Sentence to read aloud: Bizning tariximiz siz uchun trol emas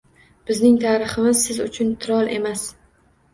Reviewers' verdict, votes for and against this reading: accepted, 2, 1